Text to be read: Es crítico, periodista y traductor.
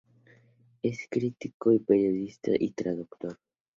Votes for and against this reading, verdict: 2, 2, rejected